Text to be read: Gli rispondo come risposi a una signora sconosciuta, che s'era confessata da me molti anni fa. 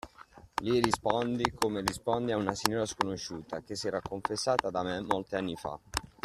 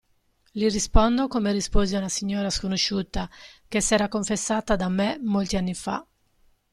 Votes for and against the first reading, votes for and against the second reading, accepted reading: 1, 2, 2, 0, second